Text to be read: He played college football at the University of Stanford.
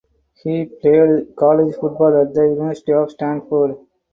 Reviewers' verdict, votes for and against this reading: rejected, 2, 4